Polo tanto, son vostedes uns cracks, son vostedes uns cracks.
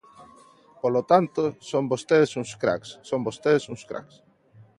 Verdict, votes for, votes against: accepted, 2, 0